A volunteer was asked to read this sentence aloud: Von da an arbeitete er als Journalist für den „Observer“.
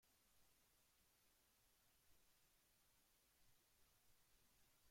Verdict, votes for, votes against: rejected, 1, 2